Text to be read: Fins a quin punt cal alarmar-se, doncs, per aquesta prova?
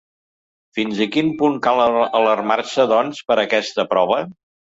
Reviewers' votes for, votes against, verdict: 0, 2, rejected